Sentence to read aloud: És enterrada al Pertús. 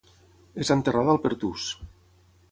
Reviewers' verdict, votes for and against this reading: accepted, 6, 0